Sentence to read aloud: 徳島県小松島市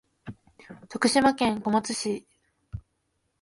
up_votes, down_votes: 3, 4